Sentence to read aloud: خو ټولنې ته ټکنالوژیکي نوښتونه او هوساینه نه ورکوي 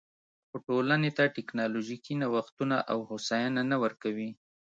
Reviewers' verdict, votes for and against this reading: accepted, 2, 0